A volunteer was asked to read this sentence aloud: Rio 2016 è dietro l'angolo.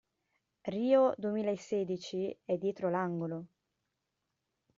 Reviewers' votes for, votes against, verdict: 0, 2, rejected